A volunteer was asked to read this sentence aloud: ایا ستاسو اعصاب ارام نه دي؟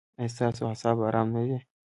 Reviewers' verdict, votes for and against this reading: accepted, 2, 0